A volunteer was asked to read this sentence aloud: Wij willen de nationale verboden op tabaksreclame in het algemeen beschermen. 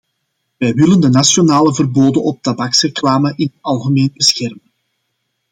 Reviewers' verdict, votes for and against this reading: rejected, 0, 2